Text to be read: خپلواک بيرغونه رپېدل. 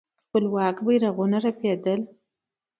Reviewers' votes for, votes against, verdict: 2, 0, accepted